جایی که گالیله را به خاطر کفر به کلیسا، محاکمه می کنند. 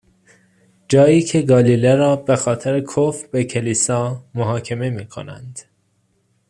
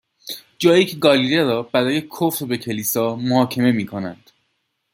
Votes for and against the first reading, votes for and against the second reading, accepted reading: 2, 0, 0, 2, first